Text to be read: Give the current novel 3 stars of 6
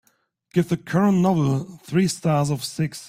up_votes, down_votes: 0, 2